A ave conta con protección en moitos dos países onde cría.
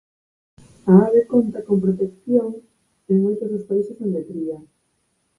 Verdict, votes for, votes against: accepted, 4, 2